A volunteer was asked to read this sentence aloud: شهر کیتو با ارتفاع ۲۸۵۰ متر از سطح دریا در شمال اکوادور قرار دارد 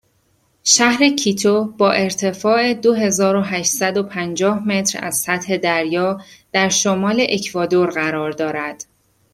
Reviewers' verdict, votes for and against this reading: rejected, 0, 2